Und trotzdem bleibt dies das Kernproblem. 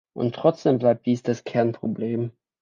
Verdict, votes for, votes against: accepted, 2, 0